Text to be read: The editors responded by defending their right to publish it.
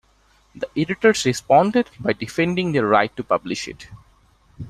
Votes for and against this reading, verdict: 2, 1, accepted